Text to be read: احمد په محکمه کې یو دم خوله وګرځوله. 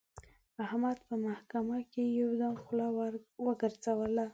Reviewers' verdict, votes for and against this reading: accepted, 3, 0